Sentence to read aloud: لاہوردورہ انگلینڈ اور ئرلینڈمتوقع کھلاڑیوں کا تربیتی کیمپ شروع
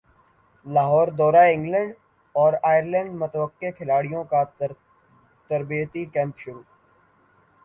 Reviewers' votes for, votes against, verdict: 2, 0, accepted